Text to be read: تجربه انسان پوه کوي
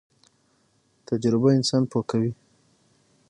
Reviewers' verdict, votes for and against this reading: rejected, 3, 6